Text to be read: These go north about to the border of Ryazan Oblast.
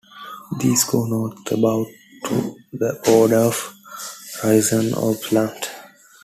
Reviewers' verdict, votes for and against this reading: rejected, 0, 2